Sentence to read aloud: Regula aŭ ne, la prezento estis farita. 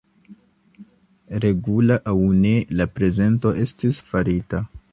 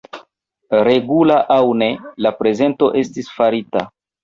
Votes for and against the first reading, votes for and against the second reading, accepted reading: 2, 1, 0, 2, first